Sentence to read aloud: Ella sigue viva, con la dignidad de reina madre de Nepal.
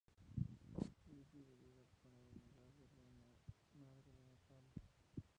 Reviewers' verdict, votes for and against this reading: rejected, 0, 4